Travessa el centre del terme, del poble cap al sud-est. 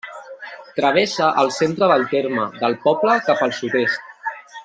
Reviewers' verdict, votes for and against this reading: accepted, 3, 1